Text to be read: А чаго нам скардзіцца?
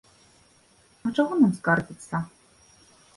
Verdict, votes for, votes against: accepted, 2, 0